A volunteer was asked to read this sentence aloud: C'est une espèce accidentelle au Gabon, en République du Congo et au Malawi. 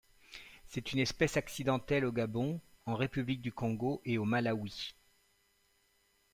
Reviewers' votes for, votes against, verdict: 2, 0, accepted